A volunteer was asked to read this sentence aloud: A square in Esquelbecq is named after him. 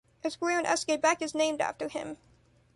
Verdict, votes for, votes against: accepted, 2, 0